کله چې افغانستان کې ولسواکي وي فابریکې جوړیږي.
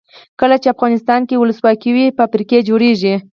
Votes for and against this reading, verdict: 0, 4, rejected